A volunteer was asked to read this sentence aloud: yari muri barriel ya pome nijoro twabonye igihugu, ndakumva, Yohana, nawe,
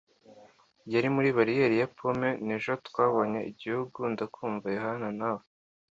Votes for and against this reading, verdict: 2, 1, accepted